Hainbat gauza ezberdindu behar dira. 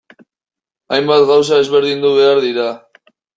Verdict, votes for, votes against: rejected, 1, 2